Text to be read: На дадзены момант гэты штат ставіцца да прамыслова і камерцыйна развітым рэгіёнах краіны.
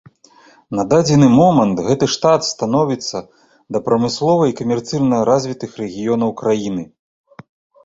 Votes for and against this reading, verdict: 0, 2, rejected